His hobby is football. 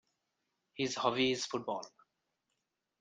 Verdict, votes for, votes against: accepted, 2, 0